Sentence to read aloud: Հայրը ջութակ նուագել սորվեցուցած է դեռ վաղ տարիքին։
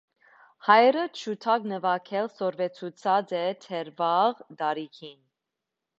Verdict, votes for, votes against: accepted, 2, 0